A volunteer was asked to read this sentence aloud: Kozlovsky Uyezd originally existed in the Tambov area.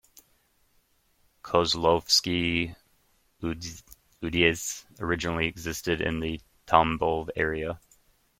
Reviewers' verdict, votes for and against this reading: rejected, 0, 2